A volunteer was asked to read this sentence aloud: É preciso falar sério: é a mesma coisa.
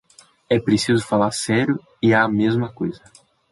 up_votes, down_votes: 1, 2